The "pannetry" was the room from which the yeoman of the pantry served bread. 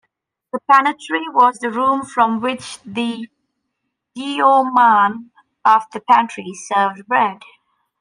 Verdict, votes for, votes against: accepted, 2, 1